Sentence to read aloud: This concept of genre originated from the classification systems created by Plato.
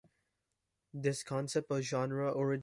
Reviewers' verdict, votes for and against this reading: rejected, 1, 2